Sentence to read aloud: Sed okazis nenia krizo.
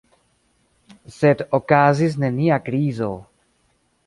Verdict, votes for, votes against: accepted, 2, 0